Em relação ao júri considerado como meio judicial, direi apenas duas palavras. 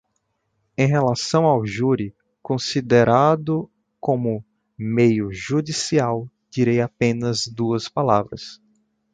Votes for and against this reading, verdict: 2, 0, accepted